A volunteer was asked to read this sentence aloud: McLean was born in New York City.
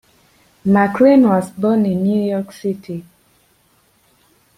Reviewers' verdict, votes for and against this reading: rejected, 1, 2